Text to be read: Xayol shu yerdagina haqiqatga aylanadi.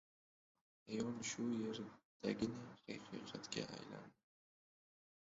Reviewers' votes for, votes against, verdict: 0, 2, rejected